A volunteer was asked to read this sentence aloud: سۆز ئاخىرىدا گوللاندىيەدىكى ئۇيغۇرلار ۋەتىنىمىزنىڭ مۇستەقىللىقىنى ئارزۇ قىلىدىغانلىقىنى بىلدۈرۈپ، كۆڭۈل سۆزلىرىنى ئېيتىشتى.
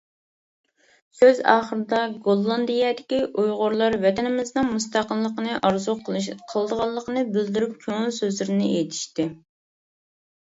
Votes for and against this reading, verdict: 0, 2, rejected